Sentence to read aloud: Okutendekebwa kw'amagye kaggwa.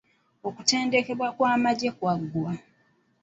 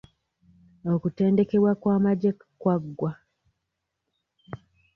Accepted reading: first